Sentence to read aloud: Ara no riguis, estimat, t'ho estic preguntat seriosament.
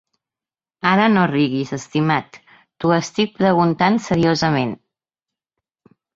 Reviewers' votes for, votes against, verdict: 2, 1, accepted